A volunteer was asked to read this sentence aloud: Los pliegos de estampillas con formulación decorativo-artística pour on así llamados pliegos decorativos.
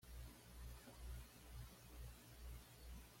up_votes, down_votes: 1, 2